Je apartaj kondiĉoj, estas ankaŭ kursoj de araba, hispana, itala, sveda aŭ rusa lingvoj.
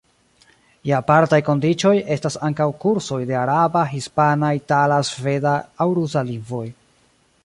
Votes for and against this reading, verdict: 0, 2, rejected